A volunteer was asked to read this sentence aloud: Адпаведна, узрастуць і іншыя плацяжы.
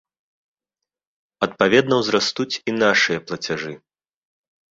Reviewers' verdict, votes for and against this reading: rejected, 0, 2